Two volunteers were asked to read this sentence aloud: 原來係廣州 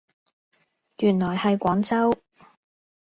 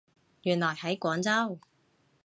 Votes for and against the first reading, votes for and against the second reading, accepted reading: 2, 0, 0, 2, first